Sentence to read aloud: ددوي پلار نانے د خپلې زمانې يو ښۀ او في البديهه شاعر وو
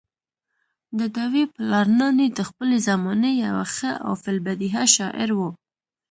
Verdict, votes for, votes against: accepted, 2, 1